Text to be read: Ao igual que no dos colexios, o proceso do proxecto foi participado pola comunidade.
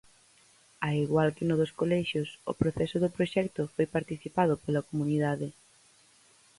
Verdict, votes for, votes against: accepted, 4, 0